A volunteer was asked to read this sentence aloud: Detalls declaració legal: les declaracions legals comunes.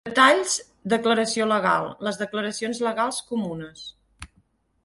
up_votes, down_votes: 2, 4